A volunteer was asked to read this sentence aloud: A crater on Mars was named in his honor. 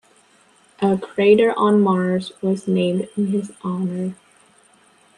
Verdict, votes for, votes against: accepted, 2, 0